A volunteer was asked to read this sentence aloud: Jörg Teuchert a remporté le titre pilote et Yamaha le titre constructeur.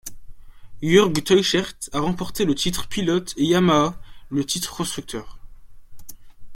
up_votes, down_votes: 2, 0